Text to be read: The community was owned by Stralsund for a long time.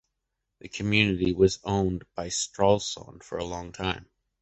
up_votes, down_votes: 2, 0